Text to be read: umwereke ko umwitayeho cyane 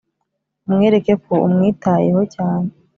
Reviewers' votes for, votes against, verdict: 2, 0, accepted